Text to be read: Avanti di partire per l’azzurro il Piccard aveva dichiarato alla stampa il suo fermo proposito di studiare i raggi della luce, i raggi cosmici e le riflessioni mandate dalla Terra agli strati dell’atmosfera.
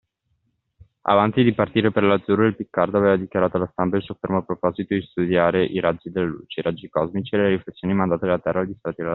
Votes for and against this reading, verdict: 1, 2, rejected